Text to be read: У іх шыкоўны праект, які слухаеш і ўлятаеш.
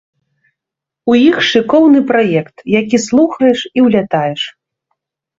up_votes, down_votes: 2, 0